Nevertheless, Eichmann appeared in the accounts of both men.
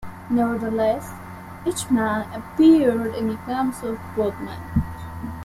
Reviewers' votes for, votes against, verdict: 2, 0, accepted